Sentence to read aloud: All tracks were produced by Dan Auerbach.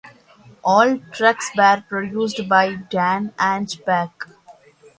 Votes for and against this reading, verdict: 1, 2, rejected